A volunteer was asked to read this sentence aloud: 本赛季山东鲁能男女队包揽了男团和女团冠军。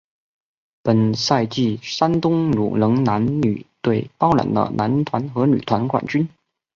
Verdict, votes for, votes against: accepted, 2, 1